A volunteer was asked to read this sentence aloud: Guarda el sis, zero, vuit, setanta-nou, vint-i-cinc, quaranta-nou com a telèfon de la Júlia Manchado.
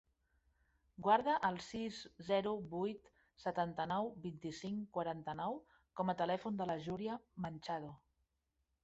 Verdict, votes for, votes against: accepted, 3, 0